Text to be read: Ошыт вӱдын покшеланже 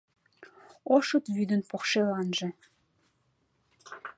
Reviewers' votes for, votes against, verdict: 2, 0, accepted